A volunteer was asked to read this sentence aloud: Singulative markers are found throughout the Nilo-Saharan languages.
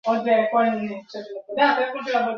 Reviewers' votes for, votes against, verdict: 0, 2, rejected